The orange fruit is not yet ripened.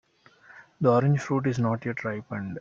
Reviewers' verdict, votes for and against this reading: rejected, 0, 2